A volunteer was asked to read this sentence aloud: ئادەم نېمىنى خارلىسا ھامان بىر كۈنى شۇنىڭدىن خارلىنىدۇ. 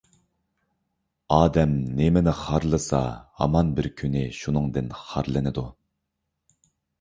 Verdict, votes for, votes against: accepted, 2, 0